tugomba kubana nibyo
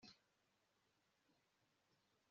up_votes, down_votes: 3, 1